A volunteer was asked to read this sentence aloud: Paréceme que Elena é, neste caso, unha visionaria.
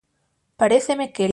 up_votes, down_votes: 0, 6